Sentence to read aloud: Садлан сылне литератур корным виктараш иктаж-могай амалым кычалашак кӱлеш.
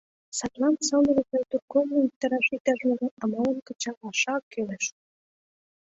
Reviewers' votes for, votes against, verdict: 2, 0, accepted